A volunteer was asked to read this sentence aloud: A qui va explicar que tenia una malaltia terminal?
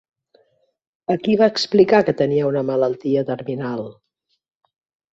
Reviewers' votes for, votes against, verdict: 3, 0, accepted